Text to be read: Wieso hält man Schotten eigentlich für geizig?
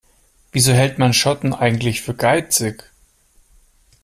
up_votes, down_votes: 2, 0